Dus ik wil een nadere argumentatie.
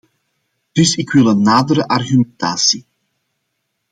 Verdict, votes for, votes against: rejected, 1, 2